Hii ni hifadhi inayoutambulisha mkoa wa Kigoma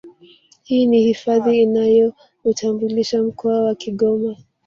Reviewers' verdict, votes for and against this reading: rejected, 1, 2